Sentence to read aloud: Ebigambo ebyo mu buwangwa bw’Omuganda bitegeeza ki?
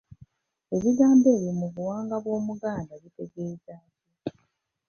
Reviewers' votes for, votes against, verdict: 0, 2, rejected